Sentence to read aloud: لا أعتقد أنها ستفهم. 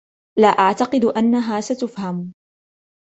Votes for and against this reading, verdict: 2, 1, accepted